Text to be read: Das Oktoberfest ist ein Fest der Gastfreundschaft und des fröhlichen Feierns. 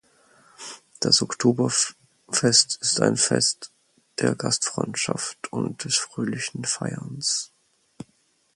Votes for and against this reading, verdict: 0, 4, rejected